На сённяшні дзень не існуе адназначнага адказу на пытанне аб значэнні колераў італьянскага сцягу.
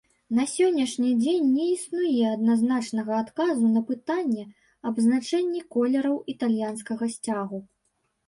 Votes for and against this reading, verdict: 2, 0, accepted